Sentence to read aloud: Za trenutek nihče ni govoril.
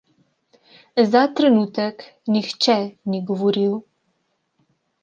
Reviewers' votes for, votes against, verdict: 2, 0, accepted